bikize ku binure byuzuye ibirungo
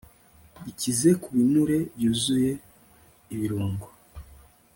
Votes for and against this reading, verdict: 3, 0, accepted